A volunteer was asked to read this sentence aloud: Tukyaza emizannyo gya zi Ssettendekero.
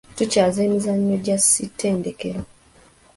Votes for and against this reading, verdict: 2, 1, accepted